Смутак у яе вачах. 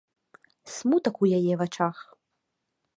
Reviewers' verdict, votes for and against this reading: accepted, 2, 0